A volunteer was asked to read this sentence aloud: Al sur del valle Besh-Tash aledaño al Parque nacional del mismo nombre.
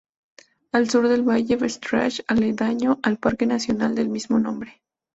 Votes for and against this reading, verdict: 4, 0, accepted